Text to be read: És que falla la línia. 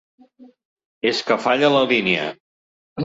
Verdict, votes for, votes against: accepted, 3, 0